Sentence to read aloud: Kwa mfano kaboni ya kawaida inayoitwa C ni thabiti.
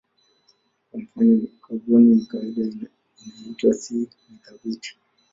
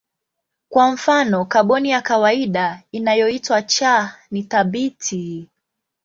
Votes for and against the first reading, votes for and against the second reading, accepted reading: 1, 6, 2, 1, second